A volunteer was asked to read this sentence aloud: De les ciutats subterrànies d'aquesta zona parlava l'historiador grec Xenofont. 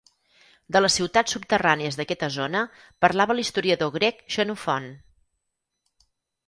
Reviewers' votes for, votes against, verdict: 2, 4, rejected